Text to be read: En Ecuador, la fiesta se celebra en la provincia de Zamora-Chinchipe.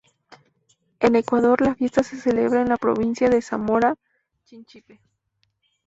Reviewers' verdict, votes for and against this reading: accepted, 2, 0